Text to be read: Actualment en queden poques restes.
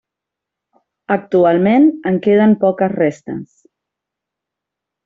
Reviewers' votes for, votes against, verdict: 1, 2, rejected